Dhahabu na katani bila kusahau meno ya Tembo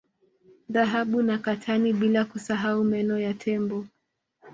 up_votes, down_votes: 2, 0